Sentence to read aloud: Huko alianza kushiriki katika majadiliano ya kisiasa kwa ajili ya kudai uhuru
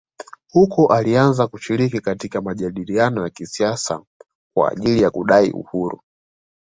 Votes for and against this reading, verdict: 3, 0, accepted